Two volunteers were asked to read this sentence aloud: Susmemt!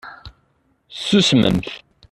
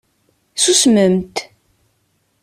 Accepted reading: second